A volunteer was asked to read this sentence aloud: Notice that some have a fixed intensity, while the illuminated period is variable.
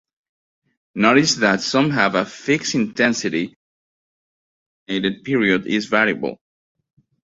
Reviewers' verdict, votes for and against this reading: rejected, 0, 2